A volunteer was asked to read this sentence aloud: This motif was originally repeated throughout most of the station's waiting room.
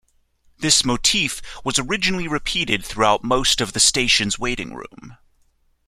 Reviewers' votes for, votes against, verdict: 3, 0, accepted